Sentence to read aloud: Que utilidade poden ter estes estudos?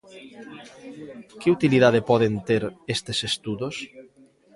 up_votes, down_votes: 1, 2